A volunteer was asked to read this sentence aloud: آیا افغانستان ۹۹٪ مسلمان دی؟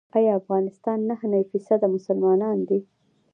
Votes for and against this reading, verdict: 0, 2, rejected